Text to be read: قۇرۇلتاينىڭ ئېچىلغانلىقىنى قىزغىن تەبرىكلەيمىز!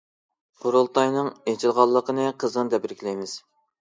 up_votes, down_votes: 2, 1